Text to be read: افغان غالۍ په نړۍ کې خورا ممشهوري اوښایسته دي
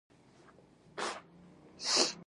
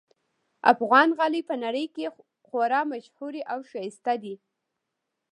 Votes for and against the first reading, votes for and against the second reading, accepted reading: 0, 2, 2, 0, second